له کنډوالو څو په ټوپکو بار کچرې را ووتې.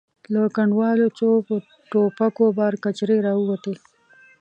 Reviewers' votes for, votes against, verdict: 1, 2, rejected